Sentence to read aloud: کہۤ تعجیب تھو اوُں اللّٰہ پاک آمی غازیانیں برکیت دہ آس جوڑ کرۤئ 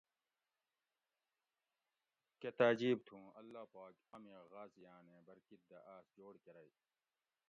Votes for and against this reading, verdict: 1, 2, rejected